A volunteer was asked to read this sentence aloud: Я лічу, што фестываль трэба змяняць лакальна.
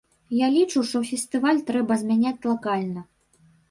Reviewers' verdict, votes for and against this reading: rejected, 0, 2